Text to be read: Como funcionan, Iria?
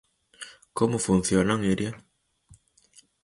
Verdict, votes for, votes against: accepted, 4, 0